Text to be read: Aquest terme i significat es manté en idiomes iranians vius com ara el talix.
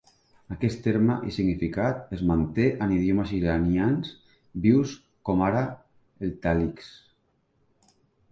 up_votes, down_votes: 3, 0